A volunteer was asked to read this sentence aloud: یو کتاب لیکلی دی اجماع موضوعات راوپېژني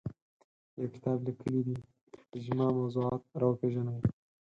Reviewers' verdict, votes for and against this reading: accepted, 4, 0